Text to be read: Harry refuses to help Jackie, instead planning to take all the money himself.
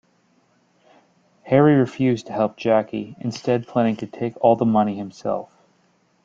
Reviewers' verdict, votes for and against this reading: accepted, 2, 1